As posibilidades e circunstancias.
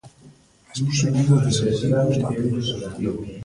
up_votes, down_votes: 0, 2